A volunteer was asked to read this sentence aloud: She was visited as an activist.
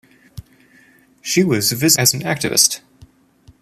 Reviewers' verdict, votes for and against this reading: rejected, 0, 2